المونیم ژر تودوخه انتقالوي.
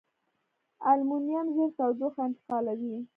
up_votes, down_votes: 2, 0